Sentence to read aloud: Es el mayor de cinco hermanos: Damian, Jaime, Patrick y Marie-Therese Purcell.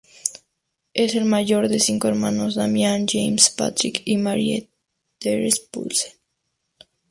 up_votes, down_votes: 0, 2